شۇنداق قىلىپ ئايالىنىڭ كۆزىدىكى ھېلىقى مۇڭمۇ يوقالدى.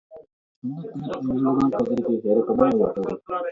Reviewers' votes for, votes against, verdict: 0, 2, rejected